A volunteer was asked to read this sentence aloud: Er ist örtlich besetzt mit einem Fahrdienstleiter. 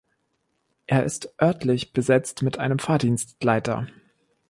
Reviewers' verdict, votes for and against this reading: accepted, 2, 0